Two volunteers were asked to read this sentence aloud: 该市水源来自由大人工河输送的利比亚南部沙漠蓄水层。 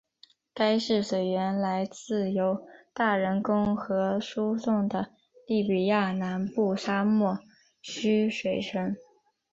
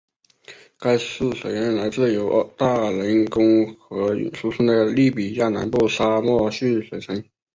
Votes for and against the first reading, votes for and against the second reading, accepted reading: 4, 0, 1, 2, first